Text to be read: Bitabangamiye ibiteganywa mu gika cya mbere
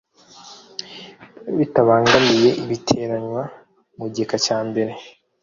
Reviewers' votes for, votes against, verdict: 1, 2, rejected